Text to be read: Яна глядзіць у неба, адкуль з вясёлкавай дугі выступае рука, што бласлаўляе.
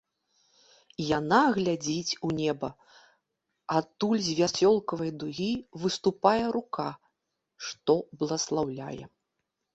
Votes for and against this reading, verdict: 2, 0, accepted